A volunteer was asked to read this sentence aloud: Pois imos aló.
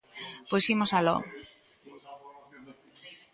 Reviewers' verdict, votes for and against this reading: accepted, 2, 0